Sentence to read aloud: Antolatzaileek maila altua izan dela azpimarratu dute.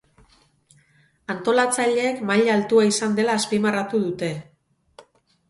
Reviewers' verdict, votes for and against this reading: accepted, 2, 0